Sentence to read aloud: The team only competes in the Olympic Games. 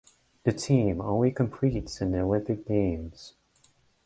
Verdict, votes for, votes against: rejected, 0, 2